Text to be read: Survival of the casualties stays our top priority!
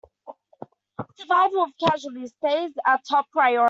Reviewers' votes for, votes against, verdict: 0, 2, rejected